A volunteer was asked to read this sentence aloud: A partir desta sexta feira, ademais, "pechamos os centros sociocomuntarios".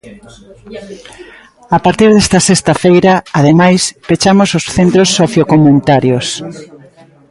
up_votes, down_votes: 2, 0